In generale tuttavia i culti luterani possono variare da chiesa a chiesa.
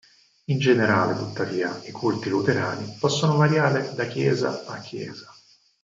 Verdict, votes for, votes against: accepted, 4, 0